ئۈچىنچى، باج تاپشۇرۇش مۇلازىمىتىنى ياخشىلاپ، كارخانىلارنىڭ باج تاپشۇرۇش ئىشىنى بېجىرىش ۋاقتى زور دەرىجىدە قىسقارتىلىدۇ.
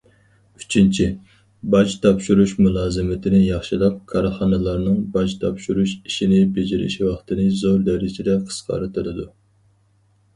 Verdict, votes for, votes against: rejected, 0, 4